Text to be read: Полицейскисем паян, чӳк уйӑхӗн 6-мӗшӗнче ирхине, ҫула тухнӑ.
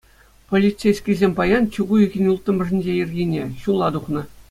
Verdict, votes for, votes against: rejected, 0, 2